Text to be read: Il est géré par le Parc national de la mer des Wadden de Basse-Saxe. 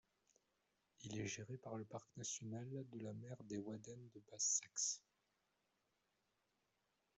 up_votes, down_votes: 2, 1